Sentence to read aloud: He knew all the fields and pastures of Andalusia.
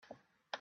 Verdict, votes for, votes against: rejected, 0, 3